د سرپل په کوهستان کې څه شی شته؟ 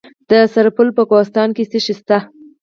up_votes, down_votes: 4, 2